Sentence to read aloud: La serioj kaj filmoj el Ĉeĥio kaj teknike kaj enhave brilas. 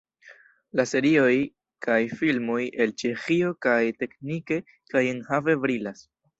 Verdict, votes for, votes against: accepted, 2, 0